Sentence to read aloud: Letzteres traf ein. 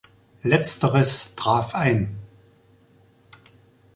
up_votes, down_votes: 2, 0